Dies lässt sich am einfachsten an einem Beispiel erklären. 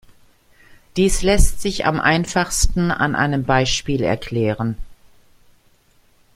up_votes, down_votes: 2, 0